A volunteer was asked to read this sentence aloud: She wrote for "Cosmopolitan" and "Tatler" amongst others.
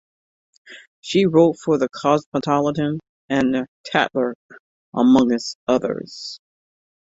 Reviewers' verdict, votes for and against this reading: rejected, 0, 2